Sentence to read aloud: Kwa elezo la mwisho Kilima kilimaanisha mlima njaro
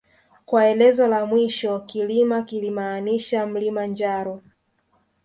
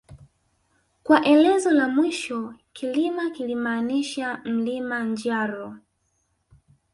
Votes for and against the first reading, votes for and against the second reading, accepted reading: 3, 0, 1, 2, first